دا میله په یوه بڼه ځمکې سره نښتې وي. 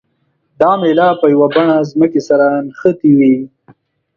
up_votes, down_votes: 2, 0